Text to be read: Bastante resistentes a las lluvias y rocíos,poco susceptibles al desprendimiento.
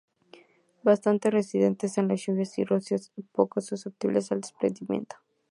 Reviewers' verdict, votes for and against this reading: rejected, 0, 2